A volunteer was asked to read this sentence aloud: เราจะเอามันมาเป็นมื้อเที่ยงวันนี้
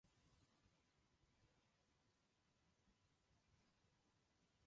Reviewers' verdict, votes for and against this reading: rejected, 0, 2